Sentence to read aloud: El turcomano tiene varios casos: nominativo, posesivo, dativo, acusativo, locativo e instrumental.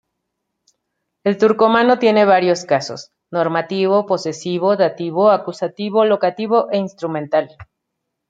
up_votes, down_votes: 1, 2